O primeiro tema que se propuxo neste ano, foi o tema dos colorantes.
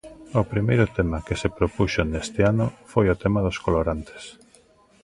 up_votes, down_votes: 3, 0